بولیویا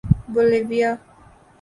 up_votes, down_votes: 2, 0